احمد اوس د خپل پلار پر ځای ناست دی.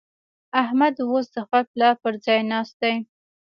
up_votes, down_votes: 2, 1